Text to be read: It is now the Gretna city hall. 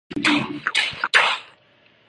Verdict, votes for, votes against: rejected, 0, 3